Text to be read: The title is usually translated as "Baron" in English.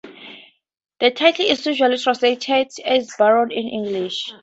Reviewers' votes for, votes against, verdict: 4, 0, accepted